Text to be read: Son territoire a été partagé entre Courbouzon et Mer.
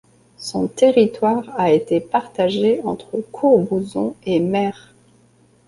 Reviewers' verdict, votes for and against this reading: accepted, 2, 0